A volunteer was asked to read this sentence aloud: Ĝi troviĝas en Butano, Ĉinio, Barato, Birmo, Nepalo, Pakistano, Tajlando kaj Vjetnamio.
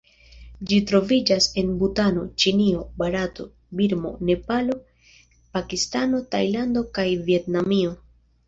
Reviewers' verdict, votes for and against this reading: accepted, 2, 1